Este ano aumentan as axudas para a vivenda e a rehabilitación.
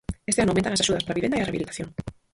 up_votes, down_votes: 0, 4